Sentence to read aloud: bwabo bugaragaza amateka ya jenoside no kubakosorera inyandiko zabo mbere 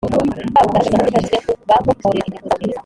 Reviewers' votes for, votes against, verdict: 0, 2, rejected